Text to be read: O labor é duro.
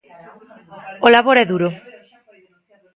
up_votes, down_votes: 0, 2